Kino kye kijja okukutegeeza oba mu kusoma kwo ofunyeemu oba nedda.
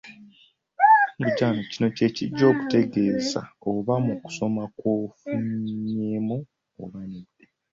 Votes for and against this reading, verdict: 0, 2, rejected